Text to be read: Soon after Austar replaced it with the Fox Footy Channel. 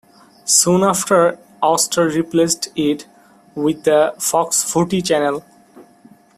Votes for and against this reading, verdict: 2, 0, accepted